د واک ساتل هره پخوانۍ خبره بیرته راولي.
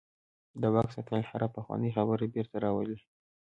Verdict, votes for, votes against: accepted, 2, 0